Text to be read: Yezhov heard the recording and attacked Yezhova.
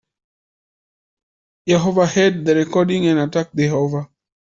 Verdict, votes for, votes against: rejected, 1, 2